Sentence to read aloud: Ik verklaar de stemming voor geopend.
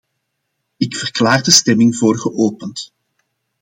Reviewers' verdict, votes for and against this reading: accepted, 2, 0